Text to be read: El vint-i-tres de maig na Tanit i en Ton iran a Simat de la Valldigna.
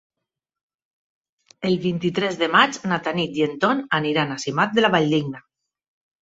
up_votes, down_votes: 2, 4